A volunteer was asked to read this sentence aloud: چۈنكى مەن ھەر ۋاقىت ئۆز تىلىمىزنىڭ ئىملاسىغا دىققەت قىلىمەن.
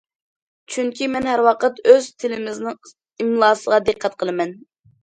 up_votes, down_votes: 2, 0